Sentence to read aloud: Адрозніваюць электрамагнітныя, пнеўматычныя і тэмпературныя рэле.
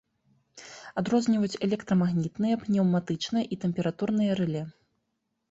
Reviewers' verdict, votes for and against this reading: accepted, 2, 0